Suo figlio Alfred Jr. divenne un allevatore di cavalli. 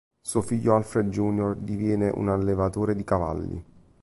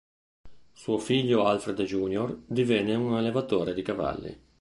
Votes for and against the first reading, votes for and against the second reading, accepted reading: 0, 2, 2, 0, second